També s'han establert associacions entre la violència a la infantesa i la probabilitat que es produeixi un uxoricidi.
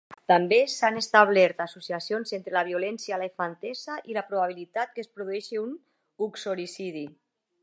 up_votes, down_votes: 2, 0